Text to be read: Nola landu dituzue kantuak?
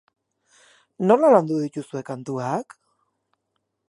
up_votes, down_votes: 2, 0